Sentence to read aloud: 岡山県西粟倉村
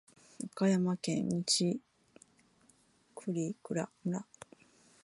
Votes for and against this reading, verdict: 5, 1, accepted